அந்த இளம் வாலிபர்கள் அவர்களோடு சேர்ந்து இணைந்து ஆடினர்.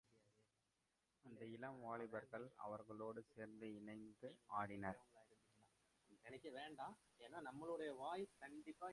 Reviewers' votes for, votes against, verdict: 0, 2, rejected